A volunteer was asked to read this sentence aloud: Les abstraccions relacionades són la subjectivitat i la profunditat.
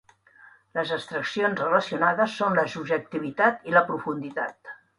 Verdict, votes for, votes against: accepted, 2, 1